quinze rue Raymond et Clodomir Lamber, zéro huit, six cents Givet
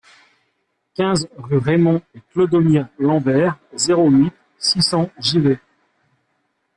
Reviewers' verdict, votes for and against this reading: accepted, 2, 0